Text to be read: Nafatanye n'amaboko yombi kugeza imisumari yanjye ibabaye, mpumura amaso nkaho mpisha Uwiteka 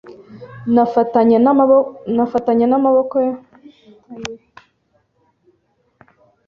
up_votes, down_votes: 1, 2